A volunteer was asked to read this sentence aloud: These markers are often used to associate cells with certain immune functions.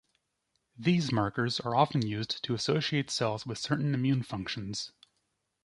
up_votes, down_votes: 2, 0